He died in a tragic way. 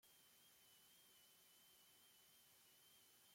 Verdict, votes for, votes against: rejected, 0, 2